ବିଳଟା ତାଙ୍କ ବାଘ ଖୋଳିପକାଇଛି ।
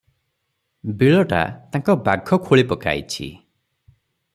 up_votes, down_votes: 3, 3